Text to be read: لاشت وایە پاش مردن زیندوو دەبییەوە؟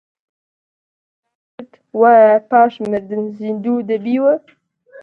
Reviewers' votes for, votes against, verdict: 0, 2, rejected